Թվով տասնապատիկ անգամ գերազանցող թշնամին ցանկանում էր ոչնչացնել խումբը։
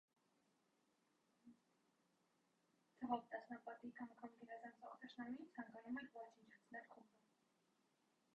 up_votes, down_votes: 0, 2